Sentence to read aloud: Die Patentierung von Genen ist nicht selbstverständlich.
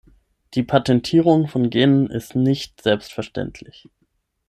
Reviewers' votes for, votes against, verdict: 6, 0, accepted